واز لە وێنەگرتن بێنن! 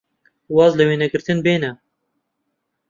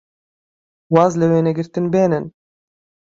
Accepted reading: second